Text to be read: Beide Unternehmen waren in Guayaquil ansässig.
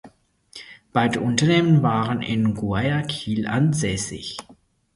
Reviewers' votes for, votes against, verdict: 0, 4, rejected